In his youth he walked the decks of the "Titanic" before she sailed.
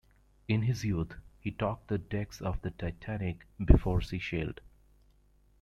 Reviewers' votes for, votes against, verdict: 0, 2, rejected